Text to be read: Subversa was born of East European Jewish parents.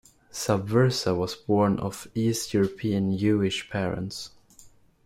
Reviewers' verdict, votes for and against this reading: rejected, 1, 2